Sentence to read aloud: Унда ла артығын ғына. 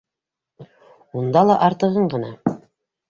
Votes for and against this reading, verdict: 2, 0, accepted